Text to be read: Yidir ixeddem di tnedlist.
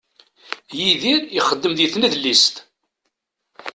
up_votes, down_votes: 2, 0